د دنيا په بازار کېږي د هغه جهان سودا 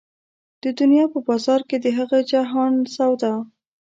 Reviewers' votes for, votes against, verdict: 0, 2, rejected